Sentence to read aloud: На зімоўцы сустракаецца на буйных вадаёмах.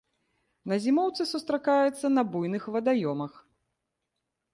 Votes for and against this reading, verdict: 1, 2, rejected